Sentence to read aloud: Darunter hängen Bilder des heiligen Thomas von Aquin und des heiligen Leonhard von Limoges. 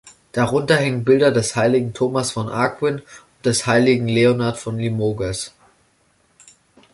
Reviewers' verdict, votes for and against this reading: accepted, 3, 0